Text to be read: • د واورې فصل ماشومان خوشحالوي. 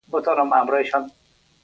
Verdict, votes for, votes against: rejected, 1, 2